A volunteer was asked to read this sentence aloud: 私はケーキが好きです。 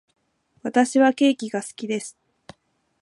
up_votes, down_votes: 1, 2